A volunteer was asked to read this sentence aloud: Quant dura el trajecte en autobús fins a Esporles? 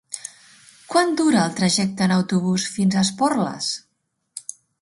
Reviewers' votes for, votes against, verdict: 3, 0, accepted